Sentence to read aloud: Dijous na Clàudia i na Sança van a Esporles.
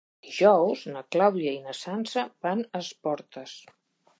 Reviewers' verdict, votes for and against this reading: accepted, 3, 2